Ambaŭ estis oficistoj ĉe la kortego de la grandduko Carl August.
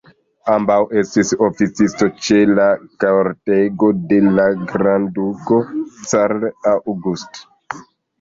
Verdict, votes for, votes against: rejected, 0, 3